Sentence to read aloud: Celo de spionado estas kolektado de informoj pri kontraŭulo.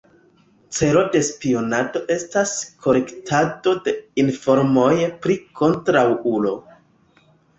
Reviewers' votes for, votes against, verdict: 2, 1, accepted